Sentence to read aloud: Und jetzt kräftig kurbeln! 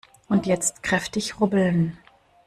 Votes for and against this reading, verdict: 0, 2, rejected